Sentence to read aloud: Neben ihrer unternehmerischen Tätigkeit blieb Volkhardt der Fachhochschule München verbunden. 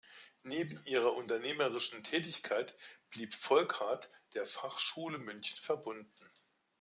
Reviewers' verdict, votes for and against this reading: rejected, 0, 2